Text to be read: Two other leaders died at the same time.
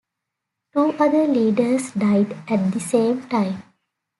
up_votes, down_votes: 2, 0